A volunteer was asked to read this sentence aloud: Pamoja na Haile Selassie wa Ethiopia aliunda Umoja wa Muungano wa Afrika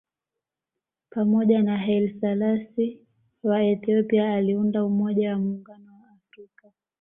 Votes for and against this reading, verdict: 1, 2, rejected